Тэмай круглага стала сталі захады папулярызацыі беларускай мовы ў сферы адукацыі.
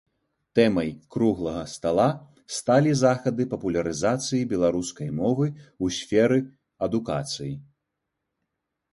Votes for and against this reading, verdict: 2, 0, accepted